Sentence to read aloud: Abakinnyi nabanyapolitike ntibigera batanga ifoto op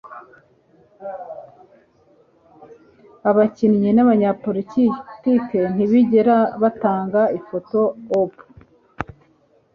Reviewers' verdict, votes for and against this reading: rejected, 0, 2